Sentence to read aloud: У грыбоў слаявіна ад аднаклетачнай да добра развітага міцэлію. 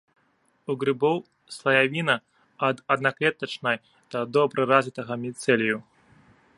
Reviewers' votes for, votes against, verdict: 0, 2, rejected